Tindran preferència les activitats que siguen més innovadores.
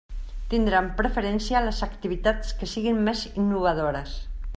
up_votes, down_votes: 2, 0